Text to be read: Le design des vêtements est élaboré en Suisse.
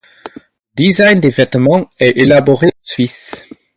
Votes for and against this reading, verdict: 0, 4, rejected